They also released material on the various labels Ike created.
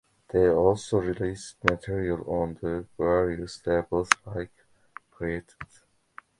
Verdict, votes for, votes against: accepted, 2, 0